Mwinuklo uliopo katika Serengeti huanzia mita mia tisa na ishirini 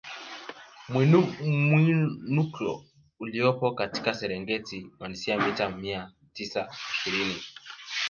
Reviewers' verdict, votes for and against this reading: rejected, 1, 2